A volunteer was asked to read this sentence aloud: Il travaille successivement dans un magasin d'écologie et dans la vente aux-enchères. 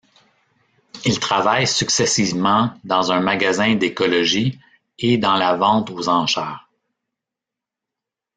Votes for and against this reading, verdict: 1, 2, rejected